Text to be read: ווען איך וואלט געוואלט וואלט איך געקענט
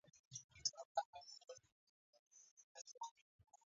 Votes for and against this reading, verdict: 0, 2, rejected